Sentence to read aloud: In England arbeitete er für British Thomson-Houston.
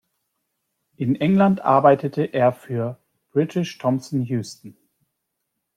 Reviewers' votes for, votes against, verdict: 2, 0, accepted